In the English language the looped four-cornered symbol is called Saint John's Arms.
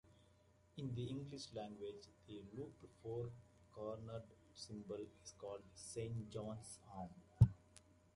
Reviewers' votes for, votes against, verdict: 2, 1, accepted